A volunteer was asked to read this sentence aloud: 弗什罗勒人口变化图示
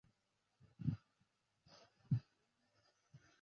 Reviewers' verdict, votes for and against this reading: rejected, 0, 4